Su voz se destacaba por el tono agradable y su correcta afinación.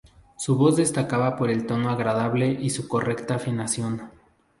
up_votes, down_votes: 2, 2